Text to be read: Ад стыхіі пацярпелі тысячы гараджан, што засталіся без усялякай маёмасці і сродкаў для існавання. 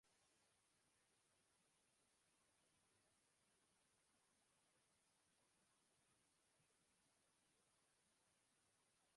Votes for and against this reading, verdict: 0, 2, rejected